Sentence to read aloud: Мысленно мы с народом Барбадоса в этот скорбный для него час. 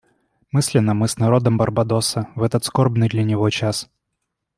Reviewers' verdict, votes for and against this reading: accepted, 2, 0